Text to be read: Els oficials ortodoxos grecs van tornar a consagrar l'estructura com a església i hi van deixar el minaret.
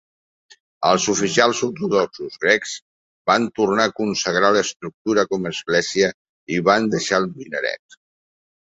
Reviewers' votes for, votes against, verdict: 6, 0, accepted